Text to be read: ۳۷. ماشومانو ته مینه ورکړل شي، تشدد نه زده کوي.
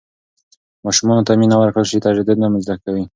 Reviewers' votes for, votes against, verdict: 0, 2, rejected